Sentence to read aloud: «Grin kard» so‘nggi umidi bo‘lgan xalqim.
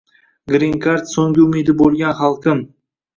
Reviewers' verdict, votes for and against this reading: rejected, 1, 2